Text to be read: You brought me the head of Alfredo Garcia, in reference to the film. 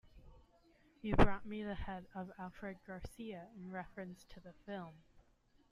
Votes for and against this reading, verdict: 1, 2, rejected